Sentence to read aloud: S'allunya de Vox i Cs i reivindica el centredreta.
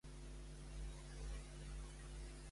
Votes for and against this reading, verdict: 1, 2, rejected